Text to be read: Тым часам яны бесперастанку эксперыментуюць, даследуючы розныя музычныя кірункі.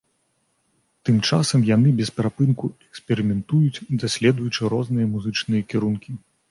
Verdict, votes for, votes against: rejected, 0, 4